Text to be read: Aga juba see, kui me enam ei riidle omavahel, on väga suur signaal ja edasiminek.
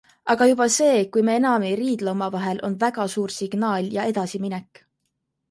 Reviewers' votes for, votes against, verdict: 2, 0, accepted